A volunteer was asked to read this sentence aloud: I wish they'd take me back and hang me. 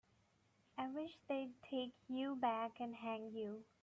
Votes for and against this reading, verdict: 0, 3, rejected